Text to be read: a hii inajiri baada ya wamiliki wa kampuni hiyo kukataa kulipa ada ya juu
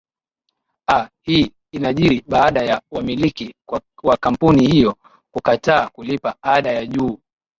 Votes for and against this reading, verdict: 0, 2, rejected